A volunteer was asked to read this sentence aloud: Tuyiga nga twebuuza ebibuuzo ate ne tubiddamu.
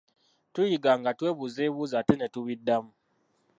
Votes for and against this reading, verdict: 0, 2, rejected